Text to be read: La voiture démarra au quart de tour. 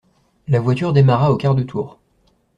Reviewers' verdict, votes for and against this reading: accepted, 2, 0